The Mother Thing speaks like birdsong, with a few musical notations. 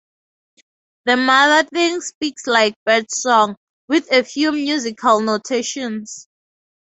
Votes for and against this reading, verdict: 0, 2, rejected